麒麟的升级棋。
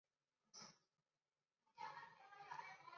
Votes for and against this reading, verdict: 0, 3, rejected